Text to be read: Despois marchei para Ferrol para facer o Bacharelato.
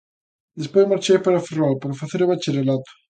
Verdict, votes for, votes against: accepted, 2, 1